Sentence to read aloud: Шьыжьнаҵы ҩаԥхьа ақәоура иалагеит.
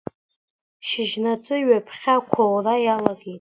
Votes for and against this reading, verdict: 2, 0, accepted